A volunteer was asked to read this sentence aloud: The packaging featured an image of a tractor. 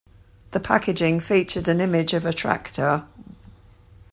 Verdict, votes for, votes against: accepted, 2, 0